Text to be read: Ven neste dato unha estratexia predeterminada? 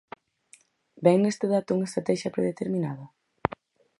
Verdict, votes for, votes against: accepted, 4, 0